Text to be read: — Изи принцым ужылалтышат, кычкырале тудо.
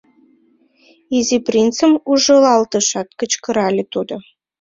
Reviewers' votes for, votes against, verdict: 2, 0, accepted